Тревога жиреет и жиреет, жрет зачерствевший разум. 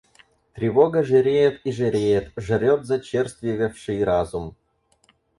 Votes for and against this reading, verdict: 0, 4, rejected